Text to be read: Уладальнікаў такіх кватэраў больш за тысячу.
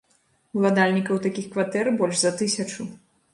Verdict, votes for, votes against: rejected, 1, 2